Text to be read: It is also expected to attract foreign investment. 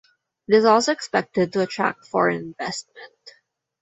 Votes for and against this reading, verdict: 0, 2, rejected